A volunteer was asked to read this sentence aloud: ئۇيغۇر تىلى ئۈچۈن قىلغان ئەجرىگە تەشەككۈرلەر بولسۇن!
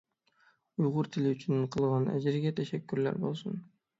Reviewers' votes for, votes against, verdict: 6, 0, accepted